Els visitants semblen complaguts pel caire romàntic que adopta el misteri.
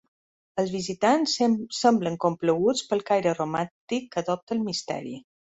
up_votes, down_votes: 0, 3